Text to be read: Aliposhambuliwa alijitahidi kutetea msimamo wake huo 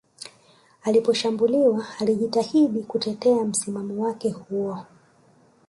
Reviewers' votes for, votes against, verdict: 1, 2, rejected